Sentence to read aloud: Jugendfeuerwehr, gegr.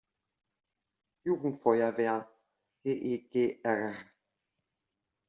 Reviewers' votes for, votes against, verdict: 1, 2, rejected